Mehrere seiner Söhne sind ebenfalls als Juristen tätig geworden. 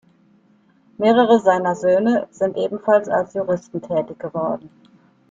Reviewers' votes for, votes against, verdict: 2, 1, accepted